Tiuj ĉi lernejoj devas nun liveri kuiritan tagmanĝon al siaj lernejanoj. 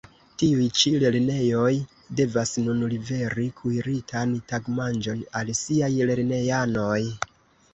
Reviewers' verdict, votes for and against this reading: accepted, 2, 0